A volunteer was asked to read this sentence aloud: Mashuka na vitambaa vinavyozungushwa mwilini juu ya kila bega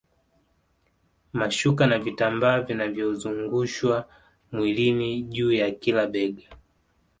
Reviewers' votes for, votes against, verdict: 2, 1, accepted